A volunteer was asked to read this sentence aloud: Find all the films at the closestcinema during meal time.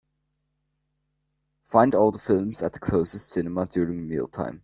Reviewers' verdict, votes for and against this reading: accepted, 2, 0